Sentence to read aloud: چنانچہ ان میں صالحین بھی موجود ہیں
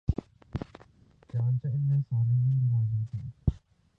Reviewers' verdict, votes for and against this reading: rejected, 0, 5